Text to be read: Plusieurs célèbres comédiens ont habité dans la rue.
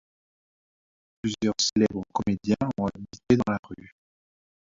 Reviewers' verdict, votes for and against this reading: accepted, 2, 0